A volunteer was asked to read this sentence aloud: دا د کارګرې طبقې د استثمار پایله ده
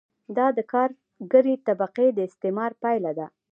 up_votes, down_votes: 2, 0